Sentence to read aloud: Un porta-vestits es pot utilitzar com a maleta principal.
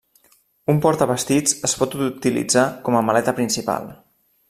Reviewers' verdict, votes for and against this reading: rejected, 1, 2